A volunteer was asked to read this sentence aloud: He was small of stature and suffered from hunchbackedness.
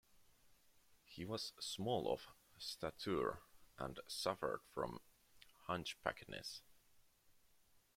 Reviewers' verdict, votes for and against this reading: rejected, 0, 2